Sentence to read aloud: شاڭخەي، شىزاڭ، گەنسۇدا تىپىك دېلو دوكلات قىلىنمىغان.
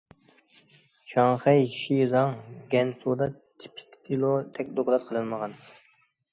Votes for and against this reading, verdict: 0, 2, rejected